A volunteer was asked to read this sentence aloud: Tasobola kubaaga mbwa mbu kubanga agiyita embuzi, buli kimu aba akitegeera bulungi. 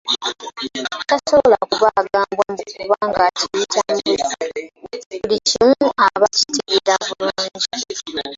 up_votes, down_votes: 0, 2